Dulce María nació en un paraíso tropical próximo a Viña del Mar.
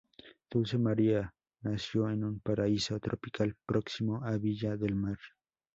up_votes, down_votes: 0, 2